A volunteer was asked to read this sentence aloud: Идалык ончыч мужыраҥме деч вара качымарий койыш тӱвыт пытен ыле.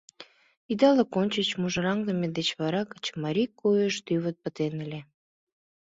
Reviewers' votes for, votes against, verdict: 2, 0, accepted